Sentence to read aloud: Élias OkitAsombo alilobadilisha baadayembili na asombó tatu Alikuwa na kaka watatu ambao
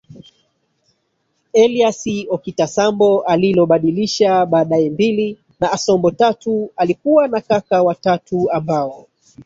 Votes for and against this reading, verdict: 0, 3, rejected